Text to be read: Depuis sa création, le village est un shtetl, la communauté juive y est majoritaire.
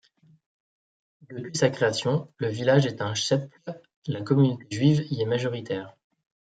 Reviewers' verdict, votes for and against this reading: rejected, 1, 2